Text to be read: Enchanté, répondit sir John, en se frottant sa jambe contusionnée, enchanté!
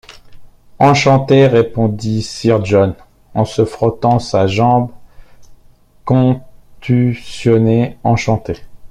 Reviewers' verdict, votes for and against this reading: rejected, 0, 2